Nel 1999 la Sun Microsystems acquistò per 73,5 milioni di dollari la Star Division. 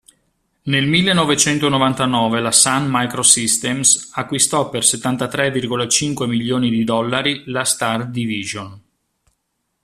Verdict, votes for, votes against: rejected, 0, 2